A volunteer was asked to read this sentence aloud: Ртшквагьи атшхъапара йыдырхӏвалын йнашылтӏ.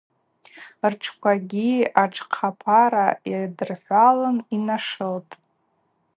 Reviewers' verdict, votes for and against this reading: rejected, 2, 2